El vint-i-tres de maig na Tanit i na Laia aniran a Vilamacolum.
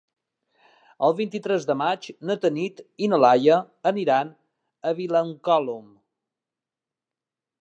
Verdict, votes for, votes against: rejected, 1, 2